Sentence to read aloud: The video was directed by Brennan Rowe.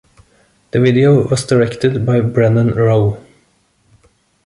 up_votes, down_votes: 2, 0